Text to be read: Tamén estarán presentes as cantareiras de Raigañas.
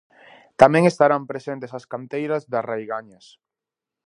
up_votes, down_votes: 0, 2